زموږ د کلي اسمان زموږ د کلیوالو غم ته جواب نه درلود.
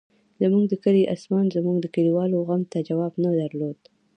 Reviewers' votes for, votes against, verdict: 0, 2, rejected